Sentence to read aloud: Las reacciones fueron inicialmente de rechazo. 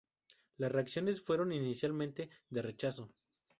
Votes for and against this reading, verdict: 4, 0, accepted